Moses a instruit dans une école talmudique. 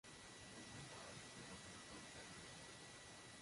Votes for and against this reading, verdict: 0, 2, rejected